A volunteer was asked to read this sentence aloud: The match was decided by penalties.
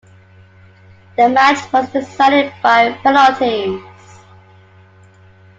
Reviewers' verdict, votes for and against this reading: accepted, 2, 1